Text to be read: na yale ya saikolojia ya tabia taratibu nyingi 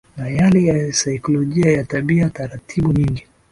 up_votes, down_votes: 2, 0